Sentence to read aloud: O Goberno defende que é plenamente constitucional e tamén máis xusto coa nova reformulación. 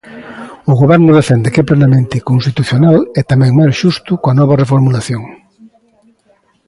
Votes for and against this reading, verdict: 0, 2, rejected